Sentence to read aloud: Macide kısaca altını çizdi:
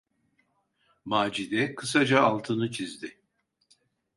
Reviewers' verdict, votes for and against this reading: accepted, 2, 0